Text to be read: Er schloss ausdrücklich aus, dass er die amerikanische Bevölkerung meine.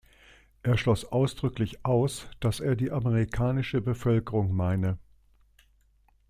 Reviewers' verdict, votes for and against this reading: accepted, 2, 0